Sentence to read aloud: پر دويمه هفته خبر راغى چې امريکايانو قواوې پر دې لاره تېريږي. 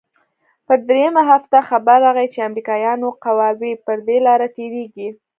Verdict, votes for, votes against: accepted, 2, 0